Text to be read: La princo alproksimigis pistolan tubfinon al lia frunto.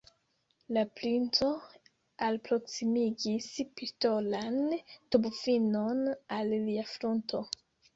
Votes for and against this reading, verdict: 2, 0, accepted